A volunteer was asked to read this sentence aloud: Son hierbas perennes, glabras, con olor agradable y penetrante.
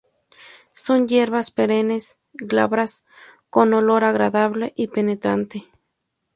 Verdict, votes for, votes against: accepted, 2, 0